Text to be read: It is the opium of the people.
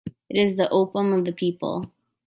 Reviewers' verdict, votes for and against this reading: accepted, 2, 0